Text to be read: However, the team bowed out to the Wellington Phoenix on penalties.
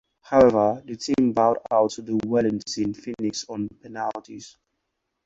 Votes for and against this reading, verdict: 0, 4, rejected